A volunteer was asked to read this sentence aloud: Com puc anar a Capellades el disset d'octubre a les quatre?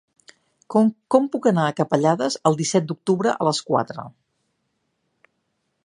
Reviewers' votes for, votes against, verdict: 0, 3, rejected